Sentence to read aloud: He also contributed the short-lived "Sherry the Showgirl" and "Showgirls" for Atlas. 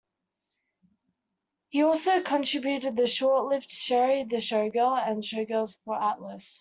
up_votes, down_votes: 2, 0